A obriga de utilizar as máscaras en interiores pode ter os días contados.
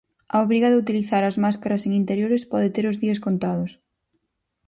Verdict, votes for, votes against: accepted, 4, 0